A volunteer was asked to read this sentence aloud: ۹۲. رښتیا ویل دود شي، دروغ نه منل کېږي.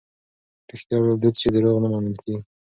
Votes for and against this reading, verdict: 0, 2, rejected